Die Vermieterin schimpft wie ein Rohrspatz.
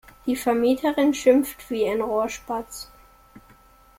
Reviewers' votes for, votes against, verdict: 2, 0, accepted